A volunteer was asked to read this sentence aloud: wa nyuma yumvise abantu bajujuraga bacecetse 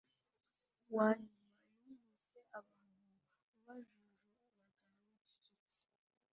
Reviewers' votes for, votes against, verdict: 0, 2, rejected